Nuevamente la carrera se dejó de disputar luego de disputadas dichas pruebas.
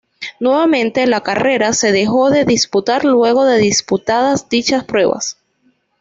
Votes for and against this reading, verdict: 2, 0, accepted